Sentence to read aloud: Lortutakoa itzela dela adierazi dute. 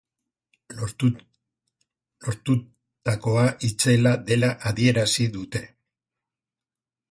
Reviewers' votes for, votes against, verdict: 0, 2, rejected